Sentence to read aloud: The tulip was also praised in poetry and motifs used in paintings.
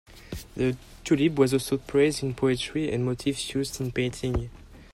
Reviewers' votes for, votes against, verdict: 0, 2, rejected